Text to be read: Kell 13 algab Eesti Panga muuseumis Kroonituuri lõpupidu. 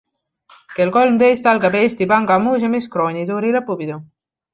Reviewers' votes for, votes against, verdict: 0, 2, rejected